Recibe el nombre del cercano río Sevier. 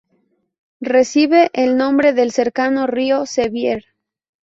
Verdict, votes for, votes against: rejected, 0, 2